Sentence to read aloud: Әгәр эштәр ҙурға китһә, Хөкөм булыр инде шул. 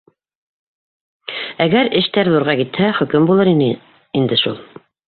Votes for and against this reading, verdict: 0, 2, rejected